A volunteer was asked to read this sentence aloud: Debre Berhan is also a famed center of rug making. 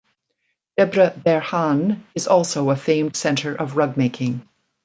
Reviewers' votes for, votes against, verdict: 2, 1, accepted